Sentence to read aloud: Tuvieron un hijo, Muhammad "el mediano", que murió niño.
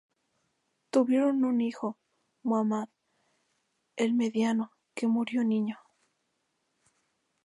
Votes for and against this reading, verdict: 0, 4, rejected